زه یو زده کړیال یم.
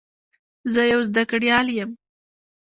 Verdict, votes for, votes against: rejected, 0, 2